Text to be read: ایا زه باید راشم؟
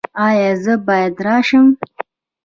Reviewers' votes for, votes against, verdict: 1, 2, rejected